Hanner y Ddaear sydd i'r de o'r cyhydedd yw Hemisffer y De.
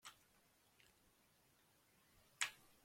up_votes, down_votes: 0, 2